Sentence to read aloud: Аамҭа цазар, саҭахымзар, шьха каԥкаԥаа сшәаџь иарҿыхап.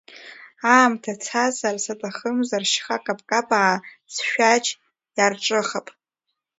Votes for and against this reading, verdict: 2, 1, accepted